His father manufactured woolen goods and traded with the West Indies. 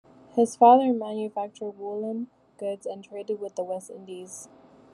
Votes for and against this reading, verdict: 0, 2, rejected